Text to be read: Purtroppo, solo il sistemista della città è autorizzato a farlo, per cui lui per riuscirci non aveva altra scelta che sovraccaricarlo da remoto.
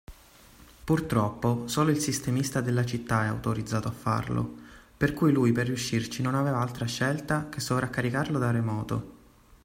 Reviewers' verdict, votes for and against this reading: accepted, 2, 1